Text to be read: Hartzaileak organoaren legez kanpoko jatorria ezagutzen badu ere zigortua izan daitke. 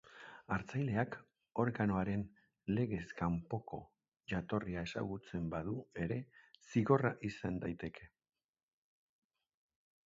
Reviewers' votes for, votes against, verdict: 0, 2, rejected